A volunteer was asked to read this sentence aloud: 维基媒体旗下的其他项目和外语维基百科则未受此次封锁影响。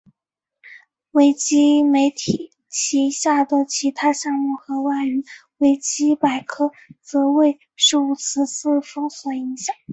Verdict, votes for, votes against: accepted, 2, 0